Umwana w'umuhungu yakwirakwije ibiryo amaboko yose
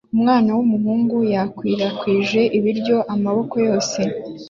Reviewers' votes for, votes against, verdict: 2, 0, accepted